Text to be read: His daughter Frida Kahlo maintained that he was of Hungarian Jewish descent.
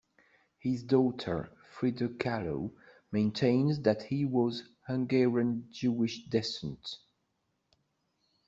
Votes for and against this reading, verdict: 0, 2, rejected